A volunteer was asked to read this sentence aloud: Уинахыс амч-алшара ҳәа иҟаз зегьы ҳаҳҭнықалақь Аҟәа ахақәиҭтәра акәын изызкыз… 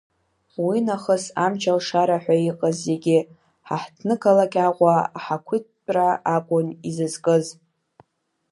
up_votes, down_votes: 2, 0